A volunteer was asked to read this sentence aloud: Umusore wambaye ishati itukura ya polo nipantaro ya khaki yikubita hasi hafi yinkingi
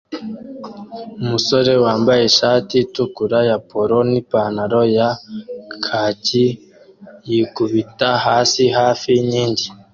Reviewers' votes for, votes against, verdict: 2, 0, accepted